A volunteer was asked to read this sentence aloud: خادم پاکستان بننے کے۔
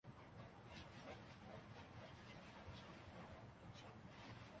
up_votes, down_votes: 2, 5